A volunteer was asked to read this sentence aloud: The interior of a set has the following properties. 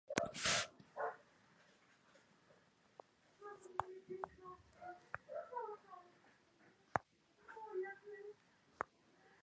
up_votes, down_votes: 0, 2